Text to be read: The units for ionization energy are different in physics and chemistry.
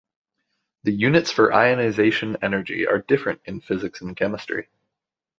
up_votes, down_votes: 2, 0